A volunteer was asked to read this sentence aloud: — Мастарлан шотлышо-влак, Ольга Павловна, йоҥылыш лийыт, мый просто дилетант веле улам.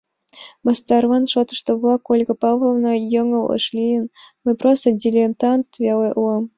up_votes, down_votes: 2, 1